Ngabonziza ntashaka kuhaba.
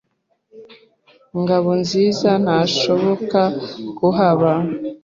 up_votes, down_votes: 0, 2